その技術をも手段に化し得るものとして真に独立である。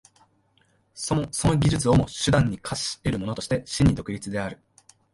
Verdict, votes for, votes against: rejected, 1, 2